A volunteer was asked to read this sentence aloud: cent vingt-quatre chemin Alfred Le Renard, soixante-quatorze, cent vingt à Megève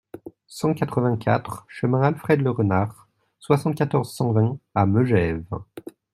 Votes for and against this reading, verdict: 0, 2, rejected